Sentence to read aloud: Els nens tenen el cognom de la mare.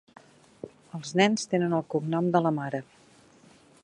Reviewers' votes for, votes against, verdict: 3, 0, accepted